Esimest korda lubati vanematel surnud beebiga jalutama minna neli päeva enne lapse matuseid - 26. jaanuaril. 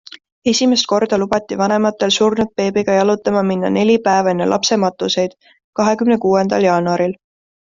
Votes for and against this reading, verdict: 0, 2, rejected